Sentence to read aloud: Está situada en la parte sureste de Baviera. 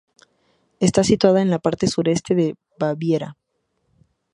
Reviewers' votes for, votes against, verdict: 2, 2, rejected